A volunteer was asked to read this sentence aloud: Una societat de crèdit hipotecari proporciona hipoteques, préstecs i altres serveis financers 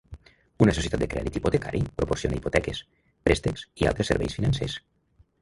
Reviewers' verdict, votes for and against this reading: rejected, 0, 2